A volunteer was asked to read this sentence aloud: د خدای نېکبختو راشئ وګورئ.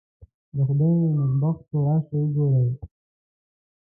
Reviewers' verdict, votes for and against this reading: rejected, 0, 2